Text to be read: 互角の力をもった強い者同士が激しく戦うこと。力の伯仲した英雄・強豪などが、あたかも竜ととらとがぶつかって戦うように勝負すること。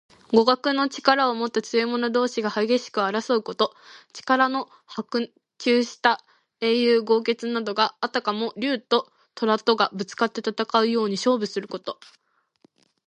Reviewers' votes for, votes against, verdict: 1, 2, rejected